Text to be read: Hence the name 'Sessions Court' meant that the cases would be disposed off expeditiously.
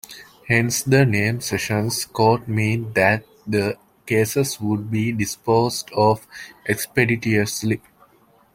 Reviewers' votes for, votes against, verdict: 2, 1, accepted